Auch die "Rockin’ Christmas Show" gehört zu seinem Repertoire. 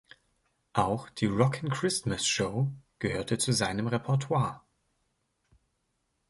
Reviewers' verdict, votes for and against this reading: rejected, 0, 2